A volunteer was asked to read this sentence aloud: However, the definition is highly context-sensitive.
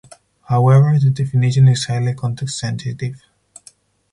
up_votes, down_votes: 4, 0